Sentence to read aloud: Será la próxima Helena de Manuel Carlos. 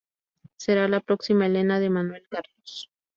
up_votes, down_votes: 2, 0